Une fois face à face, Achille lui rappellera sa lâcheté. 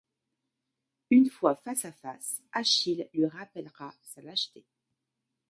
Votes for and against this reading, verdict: 1, 2, rejected